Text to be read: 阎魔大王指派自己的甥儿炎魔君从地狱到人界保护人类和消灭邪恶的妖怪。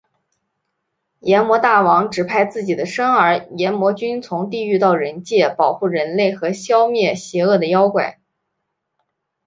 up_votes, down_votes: 2, 1